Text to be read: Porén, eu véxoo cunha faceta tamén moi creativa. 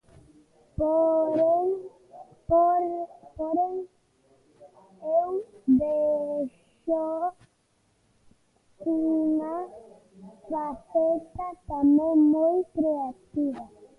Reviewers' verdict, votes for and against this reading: rejected, 0, 2